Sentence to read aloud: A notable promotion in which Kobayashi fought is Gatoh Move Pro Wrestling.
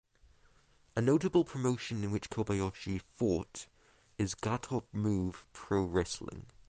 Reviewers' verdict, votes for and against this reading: rejected, 3, 6